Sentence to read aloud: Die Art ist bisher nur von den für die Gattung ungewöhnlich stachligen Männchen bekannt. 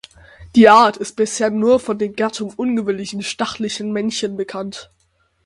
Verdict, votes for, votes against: rejected, 0, 6